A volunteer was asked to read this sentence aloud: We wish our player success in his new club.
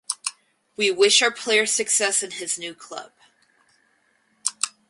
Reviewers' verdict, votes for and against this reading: accepted, 4, 0